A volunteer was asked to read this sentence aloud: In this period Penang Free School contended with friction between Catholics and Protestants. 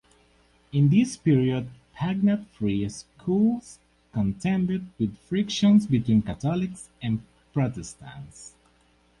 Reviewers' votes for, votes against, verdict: 2, 4, rejected